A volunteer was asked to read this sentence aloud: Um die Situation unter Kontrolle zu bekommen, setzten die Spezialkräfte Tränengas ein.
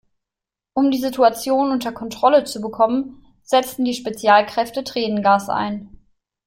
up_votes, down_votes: 2, 0